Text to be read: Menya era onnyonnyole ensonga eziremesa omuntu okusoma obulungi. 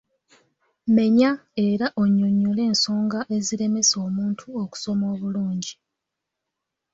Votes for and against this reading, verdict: 3, 0, accepted